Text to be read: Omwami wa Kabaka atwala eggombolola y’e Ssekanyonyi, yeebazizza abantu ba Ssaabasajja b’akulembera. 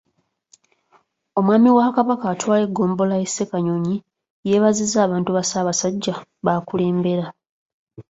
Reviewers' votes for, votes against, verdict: 3, 1, accepted